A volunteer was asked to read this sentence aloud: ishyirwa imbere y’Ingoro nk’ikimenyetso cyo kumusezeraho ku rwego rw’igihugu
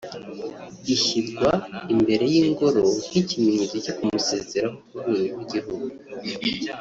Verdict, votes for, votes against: rejected, 1, 2